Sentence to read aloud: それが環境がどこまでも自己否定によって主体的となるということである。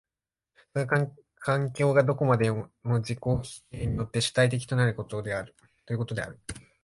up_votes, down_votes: 0, 2